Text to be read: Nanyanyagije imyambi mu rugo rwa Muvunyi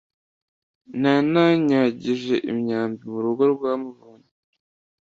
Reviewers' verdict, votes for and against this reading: rejected, 1, 2